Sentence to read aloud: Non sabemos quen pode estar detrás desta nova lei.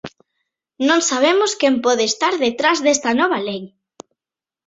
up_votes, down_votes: 2, 1